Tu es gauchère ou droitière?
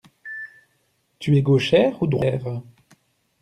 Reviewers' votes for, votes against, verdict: 0, 2, rejected